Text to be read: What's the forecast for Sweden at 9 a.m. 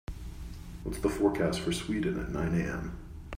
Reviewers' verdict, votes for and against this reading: rejected, 0, 2